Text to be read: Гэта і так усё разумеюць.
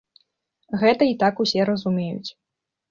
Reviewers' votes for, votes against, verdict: 0, 2, rejected